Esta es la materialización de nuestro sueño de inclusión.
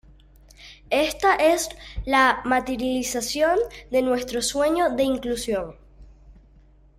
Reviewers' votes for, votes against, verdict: 1, 2, rejected